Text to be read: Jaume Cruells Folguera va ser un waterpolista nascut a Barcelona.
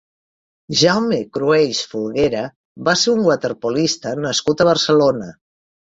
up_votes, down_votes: 2, 1